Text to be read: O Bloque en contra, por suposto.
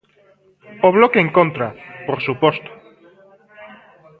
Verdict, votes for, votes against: rejected, 1, 2